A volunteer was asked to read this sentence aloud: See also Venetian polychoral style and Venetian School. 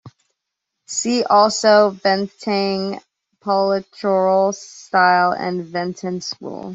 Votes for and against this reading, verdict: 1, 2, rejected